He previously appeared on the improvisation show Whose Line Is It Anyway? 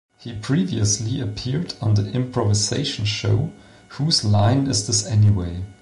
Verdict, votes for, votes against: rejected, 0, 2